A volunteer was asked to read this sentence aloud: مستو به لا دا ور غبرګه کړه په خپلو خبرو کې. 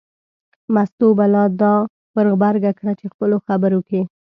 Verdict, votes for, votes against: rejected, 1, 2